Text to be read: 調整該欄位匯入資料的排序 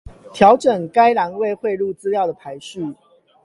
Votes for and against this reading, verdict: 8, 4, accepted